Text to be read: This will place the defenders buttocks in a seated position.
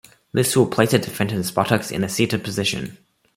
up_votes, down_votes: 1, 2